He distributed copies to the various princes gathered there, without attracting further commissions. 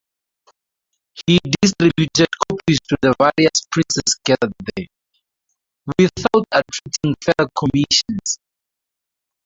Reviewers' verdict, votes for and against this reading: rejected, 0, 2